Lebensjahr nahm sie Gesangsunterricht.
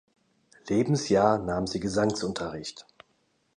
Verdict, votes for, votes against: accepted, 2, 0